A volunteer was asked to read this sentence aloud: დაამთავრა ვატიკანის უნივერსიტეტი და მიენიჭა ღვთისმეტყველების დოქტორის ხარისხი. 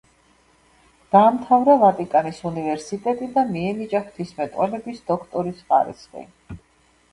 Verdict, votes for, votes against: accepted, 2, 0